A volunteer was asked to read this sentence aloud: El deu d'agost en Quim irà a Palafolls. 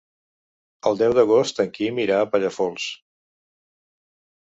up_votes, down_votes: 1, 2